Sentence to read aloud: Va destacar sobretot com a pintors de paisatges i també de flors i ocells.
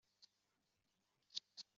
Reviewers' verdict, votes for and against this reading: rejected, 0, 2